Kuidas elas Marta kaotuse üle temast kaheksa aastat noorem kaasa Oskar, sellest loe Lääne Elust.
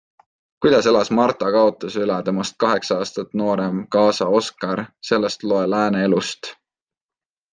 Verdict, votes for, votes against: accepted, 2, 0